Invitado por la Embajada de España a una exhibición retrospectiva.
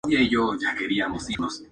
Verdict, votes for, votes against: rejected, 0, 2